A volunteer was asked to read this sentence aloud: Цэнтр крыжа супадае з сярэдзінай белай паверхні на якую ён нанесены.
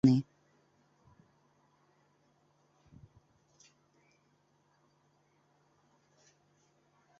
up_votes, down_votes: 0, 2